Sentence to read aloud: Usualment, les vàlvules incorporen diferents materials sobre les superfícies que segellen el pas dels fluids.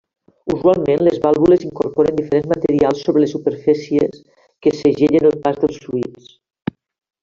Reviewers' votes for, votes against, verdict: 1, 2, rejected